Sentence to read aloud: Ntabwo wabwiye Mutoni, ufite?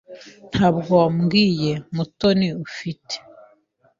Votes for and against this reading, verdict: 2, 1, accepted